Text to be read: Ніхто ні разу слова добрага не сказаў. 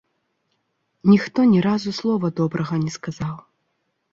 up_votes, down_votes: 2, 0